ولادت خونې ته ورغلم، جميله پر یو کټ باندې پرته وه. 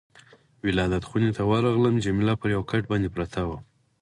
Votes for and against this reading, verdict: 4, 0, accepted